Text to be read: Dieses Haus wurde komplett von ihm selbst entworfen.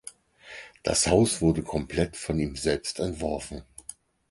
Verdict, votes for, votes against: rejected, 0, 4